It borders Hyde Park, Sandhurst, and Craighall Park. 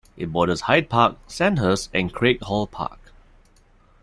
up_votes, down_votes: 2, 0